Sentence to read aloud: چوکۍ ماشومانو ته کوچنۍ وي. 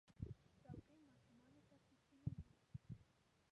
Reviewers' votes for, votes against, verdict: 0, 2, rejected